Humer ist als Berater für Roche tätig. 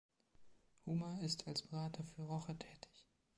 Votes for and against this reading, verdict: 1, 2, rejected